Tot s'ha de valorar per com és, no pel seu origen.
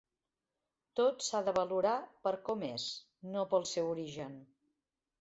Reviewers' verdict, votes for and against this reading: accepted, 3, 0